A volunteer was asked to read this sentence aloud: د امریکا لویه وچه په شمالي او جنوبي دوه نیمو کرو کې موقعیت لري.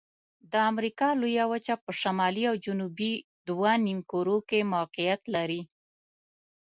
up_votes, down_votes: 2, 0